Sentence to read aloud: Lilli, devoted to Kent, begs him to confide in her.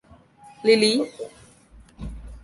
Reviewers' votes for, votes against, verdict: 0, 2, rejected